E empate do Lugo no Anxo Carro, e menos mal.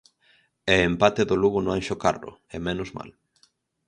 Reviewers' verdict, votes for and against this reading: accepted, 4, 0